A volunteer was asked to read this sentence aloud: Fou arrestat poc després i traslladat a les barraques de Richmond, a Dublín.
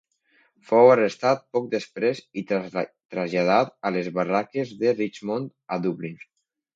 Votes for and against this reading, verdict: 1, 2, rejected